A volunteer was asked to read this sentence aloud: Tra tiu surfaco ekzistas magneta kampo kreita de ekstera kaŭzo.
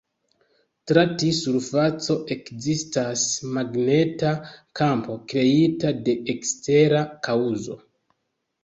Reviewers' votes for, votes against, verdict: 1, 2, rejected